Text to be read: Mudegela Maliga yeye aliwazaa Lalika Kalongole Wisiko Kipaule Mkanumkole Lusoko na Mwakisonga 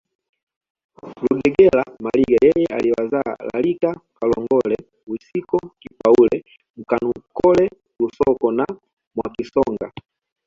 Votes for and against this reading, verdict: 0, 2, rejected